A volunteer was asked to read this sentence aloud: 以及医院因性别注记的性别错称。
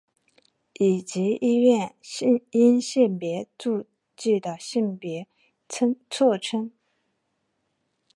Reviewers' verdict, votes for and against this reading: rejected, 0, 2